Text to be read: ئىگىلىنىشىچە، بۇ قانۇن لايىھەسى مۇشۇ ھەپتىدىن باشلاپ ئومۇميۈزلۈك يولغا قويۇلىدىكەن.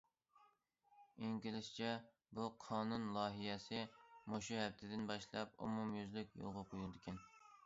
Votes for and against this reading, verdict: 0, 2, rejected